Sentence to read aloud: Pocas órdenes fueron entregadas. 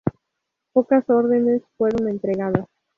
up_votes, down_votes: 0, 2